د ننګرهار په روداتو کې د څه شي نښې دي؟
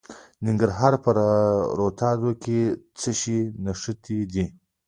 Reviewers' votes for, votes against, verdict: 2, 0, accepted